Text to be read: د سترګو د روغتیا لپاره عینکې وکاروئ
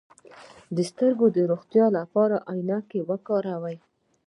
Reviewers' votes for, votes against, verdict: 2, 1, accepted